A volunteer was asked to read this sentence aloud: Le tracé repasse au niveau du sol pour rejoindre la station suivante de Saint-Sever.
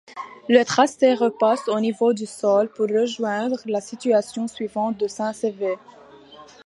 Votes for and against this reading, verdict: 2, 0, accepted